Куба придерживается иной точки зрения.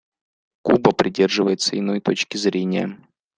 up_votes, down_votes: 2, 0